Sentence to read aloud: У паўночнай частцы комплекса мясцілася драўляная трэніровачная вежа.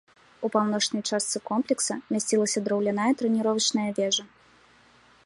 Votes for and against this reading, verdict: 1, 2, rejected